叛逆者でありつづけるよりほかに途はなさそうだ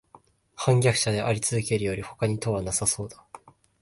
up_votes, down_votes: 2, 1